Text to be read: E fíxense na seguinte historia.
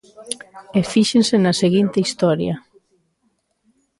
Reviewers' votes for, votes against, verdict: 0, 2, rejected